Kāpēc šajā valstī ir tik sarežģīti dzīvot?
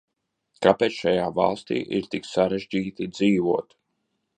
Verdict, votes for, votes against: accepted, 2, 0